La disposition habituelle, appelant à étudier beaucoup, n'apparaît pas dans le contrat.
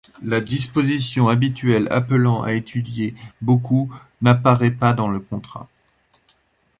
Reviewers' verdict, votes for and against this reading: rejected, 1, 2